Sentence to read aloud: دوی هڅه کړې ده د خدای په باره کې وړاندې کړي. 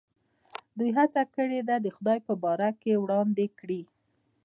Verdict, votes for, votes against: rejected, 1, 2